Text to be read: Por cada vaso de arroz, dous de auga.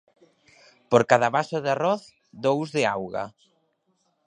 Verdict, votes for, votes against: accepted, 2, 0